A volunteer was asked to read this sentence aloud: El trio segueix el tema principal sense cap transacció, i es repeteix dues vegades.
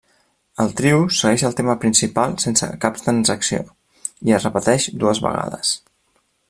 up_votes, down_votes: 3, 0